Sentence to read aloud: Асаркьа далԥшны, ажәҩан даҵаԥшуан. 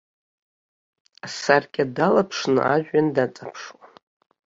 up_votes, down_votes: 1, 2